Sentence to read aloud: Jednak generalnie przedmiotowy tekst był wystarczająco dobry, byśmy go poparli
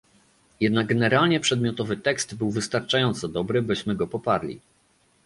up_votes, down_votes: 2, 0